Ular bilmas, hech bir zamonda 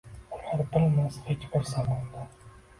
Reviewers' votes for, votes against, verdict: 1, 2, rejected